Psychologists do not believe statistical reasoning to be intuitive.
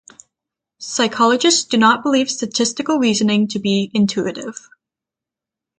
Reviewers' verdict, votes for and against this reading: accepted, 3, 0